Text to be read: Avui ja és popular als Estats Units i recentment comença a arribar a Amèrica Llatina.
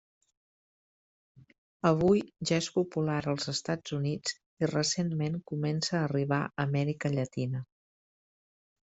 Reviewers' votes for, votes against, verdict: 3, 0, accepted